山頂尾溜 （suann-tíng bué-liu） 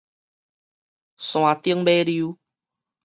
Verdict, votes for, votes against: accepted, 2, 0